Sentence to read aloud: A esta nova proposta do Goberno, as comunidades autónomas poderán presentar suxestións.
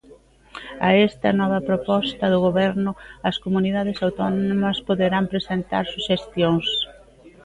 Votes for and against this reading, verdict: 2, 0, accepted